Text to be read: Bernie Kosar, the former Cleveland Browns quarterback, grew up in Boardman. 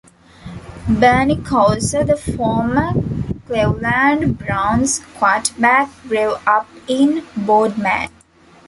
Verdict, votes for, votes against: rejected, 0, 2